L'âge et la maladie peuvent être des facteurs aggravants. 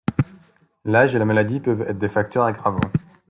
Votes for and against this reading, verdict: 2, 0, accepted